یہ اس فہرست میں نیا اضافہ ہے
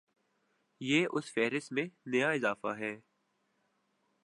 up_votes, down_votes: 4, 1